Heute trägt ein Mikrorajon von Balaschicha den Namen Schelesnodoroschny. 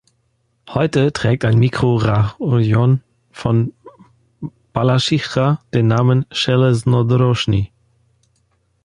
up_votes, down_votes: 1, 2